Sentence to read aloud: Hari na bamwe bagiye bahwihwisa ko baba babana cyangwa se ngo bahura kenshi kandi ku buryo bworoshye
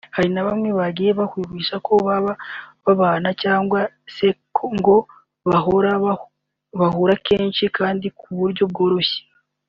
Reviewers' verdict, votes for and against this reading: rejected, 0, 3